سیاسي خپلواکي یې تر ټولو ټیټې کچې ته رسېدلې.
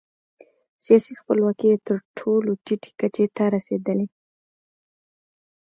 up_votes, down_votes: 1, 2